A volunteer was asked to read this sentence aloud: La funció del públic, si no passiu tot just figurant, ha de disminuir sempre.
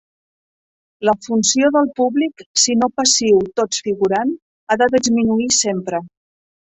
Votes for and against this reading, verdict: 1, 2, rejected